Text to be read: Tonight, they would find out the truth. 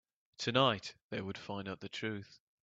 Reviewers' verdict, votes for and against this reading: accepted, 2, 0